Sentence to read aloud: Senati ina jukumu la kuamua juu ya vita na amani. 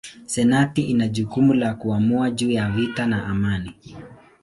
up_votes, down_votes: 2, 0